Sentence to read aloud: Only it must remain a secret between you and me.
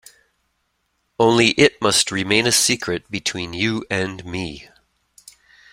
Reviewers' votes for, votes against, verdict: 2, 0, accepted